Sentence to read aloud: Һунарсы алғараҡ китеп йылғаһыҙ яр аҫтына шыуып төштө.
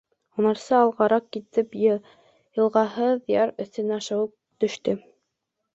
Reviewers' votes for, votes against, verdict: 0, 2, rejected